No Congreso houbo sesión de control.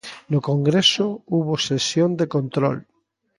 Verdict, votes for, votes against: accepted, 2, 0